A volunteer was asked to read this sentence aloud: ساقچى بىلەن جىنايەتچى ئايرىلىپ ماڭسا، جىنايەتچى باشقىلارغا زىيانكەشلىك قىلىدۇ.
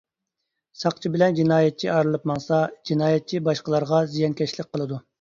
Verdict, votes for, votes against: accepted, 2, 0